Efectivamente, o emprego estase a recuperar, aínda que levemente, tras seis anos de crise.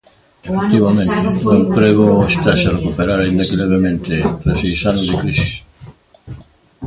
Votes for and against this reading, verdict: 0, 2, rejected